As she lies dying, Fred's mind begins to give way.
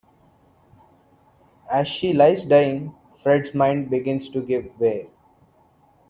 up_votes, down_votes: 1, 2